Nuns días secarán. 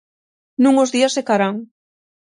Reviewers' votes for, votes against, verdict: 0, 6, rejected